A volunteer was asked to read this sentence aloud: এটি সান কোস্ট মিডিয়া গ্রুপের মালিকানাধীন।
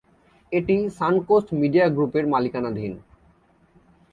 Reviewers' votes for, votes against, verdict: 2, 0, accepted